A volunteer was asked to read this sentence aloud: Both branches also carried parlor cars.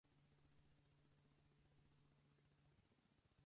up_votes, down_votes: 2, 4